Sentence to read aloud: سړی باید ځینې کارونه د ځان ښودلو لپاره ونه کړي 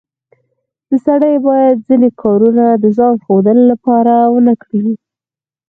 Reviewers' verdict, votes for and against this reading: accepted, 4, 2